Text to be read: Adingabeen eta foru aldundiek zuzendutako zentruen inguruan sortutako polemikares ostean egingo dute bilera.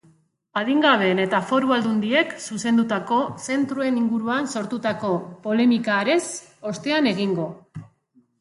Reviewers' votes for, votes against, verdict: 0, 2, rejected